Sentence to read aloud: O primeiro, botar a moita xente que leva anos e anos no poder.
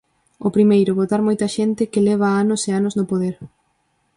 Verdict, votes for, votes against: rejected, 0, 4